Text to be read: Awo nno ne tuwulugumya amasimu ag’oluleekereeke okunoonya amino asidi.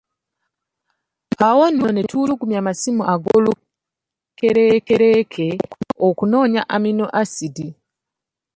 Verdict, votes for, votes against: rejected, 1, 2